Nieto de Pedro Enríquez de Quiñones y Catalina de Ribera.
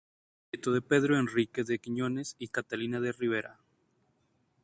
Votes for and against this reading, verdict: 0, 2, rejected